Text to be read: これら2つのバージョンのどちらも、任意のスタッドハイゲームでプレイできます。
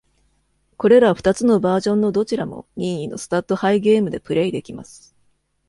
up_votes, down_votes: 0, 2